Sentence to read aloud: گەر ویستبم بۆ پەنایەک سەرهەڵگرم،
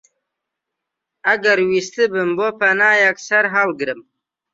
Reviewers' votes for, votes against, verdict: 1, 2, rejected